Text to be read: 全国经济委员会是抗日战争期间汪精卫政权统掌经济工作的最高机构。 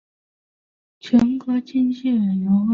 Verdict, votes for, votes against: rejected, 0, 3